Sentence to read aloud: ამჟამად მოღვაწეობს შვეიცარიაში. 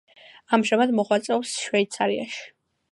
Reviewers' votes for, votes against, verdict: 2, 0, accepted